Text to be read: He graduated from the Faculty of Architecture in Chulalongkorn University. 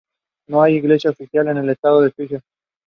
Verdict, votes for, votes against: rejected, 0, 2